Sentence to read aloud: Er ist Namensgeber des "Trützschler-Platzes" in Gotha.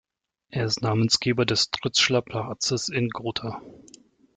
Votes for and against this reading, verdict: 1, 2, rejected